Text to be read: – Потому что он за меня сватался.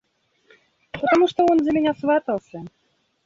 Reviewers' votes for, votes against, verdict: 1, 2, rejected